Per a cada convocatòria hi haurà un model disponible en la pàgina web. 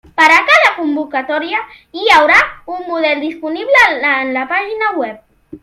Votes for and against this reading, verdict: 1, 2, rejected